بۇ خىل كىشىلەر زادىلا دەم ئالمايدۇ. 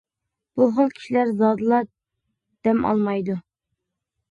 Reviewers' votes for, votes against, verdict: 2, 0, accepted